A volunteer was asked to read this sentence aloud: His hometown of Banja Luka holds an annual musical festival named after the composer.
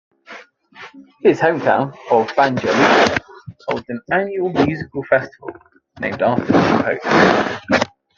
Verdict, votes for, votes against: rejected, 1, 2